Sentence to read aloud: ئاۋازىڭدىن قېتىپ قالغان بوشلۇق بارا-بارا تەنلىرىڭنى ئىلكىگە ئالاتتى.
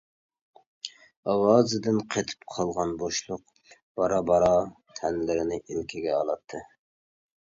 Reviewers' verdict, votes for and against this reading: rejected, 0, 2